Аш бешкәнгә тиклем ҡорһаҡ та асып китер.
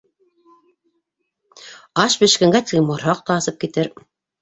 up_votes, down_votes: 2, 1